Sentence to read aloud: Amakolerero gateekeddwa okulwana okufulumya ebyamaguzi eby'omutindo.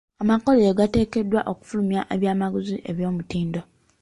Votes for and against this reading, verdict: 1, 2, rejected